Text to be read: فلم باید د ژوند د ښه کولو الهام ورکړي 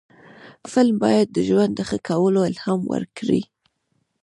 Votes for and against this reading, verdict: 1, 2, rejected